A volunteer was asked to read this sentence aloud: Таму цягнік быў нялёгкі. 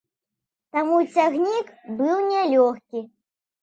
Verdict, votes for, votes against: accepted, 2, 0